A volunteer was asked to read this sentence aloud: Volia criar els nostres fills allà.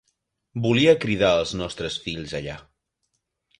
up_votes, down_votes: 0, 2